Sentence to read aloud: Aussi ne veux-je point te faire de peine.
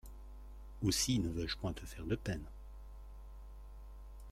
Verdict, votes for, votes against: accepted, 2, 0